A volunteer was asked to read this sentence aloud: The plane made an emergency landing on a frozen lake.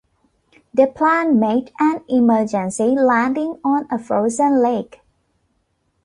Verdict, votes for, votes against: accepted, 2, 1